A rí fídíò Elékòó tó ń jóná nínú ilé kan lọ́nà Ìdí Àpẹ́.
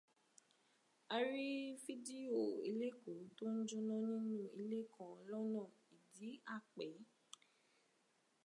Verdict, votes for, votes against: rejected, 1, 2